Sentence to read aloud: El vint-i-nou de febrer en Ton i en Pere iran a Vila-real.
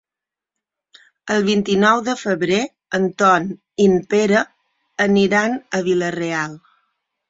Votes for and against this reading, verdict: 0, 6, rejected